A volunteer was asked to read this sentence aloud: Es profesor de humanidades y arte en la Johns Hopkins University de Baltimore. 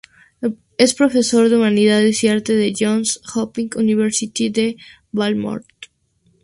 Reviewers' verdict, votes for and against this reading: rejected, 2, 2